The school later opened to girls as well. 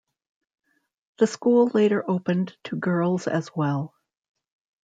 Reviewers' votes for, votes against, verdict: 2, 0, accepted